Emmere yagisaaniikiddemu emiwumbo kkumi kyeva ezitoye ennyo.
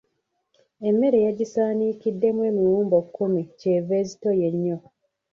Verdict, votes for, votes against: rejected, 0, 2